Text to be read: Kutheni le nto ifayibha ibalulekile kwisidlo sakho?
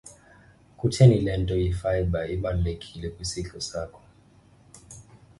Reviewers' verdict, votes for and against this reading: accepted, 2, 0